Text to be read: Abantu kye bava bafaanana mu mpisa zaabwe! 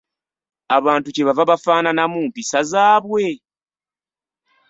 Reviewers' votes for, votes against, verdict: 2, 0, accepted